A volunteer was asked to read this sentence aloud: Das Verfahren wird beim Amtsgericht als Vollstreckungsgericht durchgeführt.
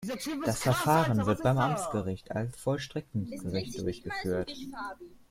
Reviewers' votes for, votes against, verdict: 1, 2, rejected